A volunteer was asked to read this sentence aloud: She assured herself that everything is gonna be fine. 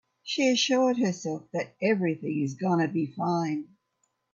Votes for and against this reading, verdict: 2, 0, accepted